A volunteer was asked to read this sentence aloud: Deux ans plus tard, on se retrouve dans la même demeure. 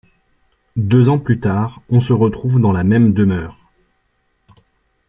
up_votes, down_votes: 2, 0